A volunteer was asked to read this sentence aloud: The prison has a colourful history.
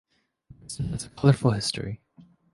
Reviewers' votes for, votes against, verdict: 0, 2, rejected